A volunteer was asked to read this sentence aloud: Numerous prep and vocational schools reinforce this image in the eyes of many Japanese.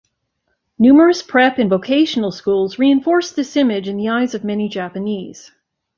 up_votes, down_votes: 3, 0